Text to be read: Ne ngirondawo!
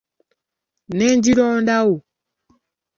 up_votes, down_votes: 2, 1